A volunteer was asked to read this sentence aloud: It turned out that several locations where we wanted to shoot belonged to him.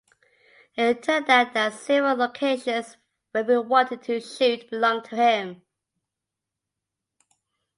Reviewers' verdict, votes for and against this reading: accepted, 3, 0